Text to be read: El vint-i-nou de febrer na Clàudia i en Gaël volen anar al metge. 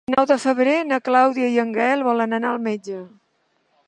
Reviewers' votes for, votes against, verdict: 0, 2, rejected